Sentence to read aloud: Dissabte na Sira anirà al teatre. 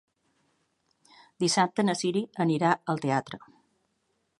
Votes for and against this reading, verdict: 0, 2, rejected